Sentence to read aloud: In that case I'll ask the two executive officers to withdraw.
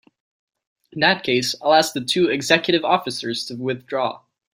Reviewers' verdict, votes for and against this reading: accepted, 2, 0